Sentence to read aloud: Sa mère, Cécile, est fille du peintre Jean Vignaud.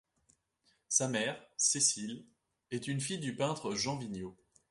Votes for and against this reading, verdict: 1, 2, rejected